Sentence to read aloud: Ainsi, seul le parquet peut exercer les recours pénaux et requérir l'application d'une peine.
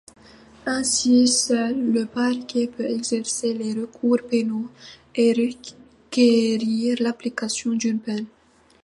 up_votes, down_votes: 2, 0